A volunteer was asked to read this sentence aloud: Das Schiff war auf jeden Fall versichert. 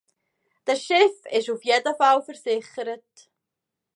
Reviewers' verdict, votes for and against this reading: rejected, 0, 2